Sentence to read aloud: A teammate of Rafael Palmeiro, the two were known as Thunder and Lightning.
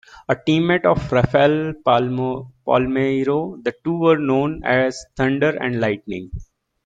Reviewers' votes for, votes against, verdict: 1, 2, rejected